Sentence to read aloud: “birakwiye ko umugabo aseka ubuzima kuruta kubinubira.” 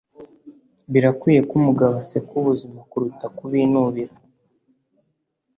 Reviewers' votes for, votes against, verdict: 2, 0, accepted